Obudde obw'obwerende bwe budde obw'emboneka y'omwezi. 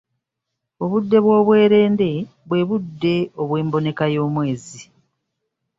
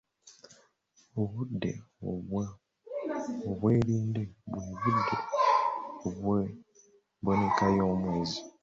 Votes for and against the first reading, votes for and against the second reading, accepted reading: 2, 0, 1, 2, first